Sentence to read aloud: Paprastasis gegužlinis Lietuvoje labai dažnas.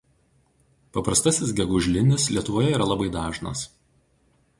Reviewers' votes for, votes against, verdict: 0, 2, rejected